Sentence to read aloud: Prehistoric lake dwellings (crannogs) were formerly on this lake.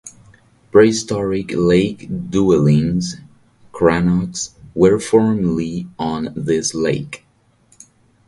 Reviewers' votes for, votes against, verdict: 2, 4, rejected